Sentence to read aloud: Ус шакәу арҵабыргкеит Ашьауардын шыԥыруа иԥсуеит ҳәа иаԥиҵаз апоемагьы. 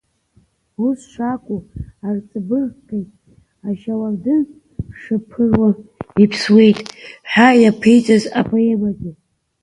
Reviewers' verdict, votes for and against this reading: rejected, 1, 2